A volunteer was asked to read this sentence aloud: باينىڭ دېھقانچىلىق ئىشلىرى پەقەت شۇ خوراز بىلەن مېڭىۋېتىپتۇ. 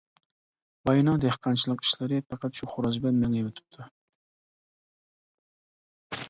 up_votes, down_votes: 2, 0